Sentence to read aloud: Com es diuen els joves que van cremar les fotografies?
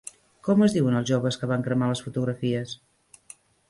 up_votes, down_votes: 3, 1